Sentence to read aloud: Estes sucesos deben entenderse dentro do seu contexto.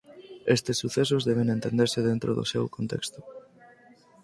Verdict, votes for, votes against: accepted, 4, 0